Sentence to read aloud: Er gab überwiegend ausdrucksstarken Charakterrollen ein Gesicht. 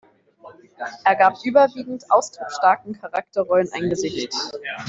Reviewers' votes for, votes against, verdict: 1, 2, rejected